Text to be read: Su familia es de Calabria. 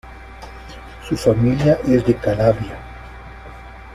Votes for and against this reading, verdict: 2, 0, accepted